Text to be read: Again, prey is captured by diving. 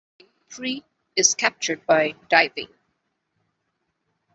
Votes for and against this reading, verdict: 0, 2, rejected